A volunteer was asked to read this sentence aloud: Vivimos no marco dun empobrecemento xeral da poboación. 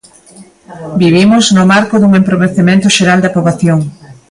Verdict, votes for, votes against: rejected, 0, 2